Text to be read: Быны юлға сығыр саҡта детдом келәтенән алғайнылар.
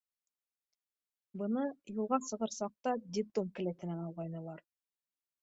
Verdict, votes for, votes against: accepted, 2, 0